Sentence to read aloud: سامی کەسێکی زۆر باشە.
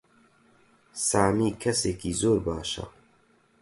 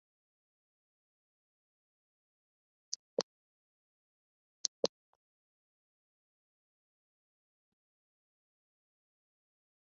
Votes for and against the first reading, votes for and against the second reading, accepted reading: 4, 0, 0, 2, first